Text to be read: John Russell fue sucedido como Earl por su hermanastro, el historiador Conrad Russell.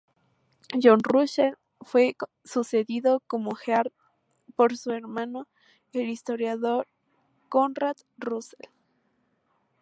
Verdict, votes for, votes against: accepted, 2, 0